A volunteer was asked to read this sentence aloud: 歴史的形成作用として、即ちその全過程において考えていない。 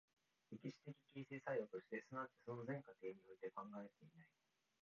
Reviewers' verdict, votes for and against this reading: rejected, 2, 4